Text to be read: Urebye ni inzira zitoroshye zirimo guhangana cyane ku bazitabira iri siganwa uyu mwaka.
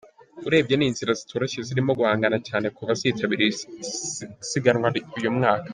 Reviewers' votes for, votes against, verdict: 0, 2, rejected